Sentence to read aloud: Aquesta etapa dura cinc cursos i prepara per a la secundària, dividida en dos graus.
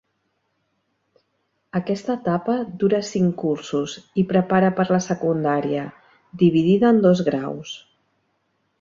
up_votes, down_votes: 3, 0